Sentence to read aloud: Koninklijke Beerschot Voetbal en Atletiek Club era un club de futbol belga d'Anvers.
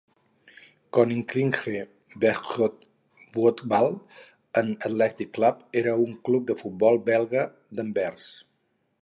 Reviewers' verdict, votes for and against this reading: rejected, 2, 2